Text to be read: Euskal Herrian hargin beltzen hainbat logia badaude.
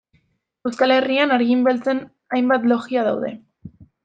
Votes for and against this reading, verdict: 0, 2, rejected